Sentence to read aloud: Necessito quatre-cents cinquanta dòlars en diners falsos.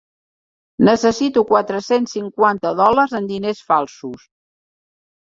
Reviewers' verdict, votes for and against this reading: accepted, 3, 1